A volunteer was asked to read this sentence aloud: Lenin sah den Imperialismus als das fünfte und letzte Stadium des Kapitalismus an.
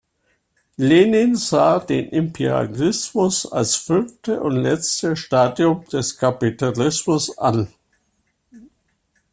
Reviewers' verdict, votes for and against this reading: rejected, 0, 2